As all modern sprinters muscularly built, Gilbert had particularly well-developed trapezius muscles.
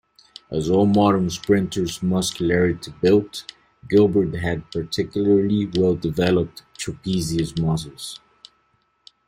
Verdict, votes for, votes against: rejected, 1, 2